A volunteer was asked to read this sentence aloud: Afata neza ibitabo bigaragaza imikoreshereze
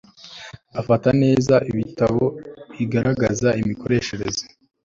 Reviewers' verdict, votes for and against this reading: accepted, 2, 0